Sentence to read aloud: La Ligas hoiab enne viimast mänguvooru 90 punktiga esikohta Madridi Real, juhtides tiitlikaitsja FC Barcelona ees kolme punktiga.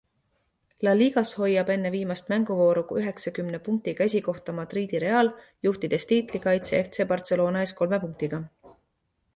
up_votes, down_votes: 0, 2